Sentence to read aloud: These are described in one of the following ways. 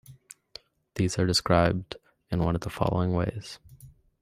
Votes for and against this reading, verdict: 2, 1, accepted